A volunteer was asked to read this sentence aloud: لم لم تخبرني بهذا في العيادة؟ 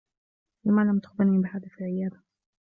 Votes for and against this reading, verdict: 1, 2, rejected